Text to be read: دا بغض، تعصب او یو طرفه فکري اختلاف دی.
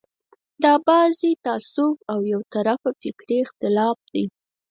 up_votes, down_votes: 0, 4